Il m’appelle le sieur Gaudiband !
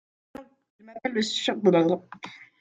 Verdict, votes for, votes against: rejected, 0, 2